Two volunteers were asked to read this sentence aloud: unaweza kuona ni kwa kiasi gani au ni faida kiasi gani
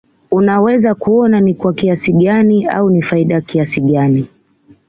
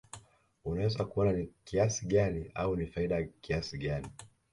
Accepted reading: first